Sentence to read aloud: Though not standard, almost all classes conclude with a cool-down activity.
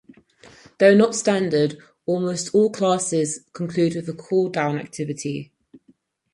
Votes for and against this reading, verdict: 4, 0, accepted